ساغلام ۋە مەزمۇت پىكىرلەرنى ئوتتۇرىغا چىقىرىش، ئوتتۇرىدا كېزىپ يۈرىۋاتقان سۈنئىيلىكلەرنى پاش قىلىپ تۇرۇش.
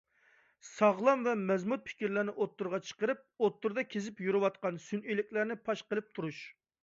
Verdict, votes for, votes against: rejected, 0, 2